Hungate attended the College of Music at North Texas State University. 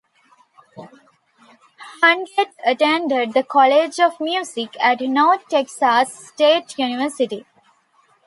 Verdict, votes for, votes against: rejected, 1, 2